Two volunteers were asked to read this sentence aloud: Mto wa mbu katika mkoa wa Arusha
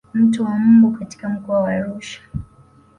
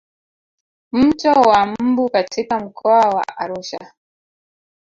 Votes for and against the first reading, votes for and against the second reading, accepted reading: 2, 0, 1, 2, first